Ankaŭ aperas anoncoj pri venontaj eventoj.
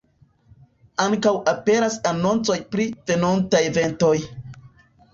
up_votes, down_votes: 2, 0